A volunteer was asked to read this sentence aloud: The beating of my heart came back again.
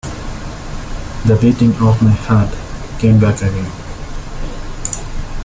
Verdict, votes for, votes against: rejected, 0, 2